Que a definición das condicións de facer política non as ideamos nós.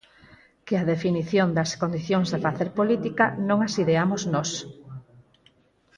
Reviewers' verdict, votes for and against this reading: rejected, 0, 4